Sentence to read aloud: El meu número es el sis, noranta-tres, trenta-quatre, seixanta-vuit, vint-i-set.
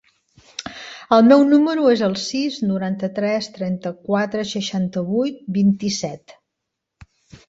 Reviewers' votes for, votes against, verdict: 3, 0, accepted